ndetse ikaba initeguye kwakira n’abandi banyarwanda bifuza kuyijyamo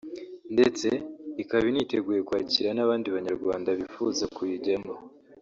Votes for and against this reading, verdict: 1, 2, rejected